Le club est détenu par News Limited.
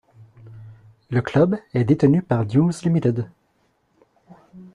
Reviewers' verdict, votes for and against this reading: accepted, 2, 0